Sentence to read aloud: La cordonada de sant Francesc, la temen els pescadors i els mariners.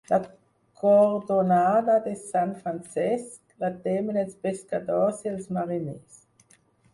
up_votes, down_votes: 0, 4